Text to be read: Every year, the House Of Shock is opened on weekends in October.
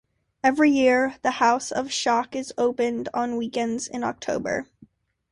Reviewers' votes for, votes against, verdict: 2, 0, accepted